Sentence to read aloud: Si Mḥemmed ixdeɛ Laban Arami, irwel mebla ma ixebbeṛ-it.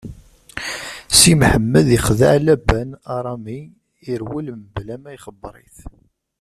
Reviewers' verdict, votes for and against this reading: rejected, 1, 2